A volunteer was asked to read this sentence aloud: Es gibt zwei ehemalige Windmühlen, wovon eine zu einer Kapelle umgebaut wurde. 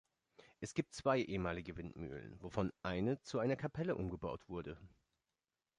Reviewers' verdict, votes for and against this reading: accepted, 2, 0